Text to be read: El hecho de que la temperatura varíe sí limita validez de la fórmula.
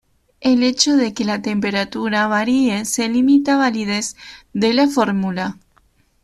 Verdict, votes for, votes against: rejected, 1, 2